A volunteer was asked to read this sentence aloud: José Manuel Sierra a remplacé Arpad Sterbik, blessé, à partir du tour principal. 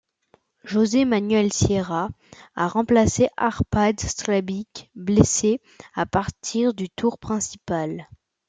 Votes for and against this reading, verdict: 2, 0, accepted